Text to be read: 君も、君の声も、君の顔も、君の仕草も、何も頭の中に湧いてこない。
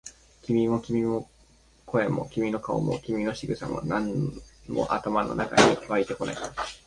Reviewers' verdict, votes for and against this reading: rejected, 0, 2